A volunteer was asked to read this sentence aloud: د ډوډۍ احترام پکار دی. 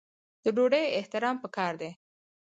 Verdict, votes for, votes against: rejected, 2, 4